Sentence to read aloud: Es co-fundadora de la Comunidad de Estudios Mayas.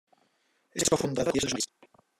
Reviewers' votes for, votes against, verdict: 0, 2, rejected